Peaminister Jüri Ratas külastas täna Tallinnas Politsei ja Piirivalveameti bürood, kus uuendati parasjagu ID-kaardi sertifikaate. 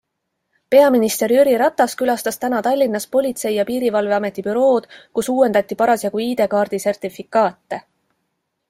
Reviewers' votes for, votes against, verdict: 2, 0, accepted